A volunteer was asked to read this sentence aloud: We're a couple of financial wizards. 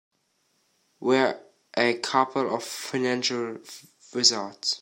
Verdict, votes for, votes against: rejected, 1, 2